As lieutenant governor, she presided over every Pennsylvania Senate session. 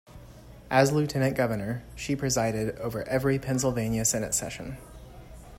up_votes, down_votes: 2, 0